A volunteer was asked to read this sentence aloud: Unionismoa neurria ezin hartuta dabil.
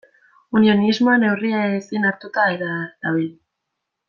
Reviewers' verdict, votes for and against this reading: rejected, 1, 2